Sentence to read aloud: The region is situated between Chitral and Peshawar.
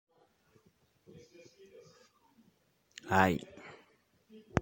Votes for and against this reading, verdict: 0, 2, rejected